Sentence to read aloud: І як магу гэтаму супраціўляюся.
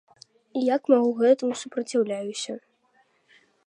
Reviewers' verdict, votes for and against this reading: accepted, 2, 0